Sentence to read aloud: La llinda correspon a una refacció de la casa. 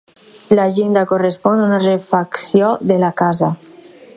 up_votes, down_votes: 2, 4